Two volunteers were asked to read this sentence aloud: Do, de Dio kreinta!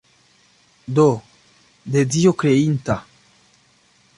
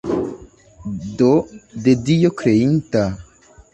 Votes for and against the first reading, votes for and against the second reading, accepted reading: 1, 2, 2, 0, second